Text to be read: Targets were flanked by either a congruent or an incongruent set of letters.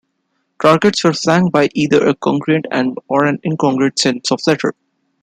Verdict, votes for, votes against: accepted, 2, 0